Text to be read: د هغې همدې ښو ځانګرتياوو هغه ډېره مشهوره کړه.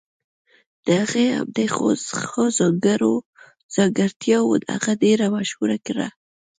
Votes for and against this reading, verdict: 0, 2, rejected